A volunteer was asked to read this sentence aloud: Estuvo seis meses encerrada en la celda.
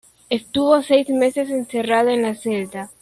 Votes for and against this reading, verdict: 2, 0, accepted